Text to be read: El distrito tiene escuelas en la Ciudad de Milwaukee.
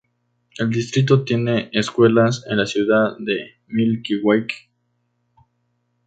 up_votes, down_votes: 2, 0